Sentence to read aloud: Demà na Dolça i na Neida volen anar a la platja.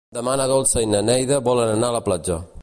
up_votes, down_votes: 2, 0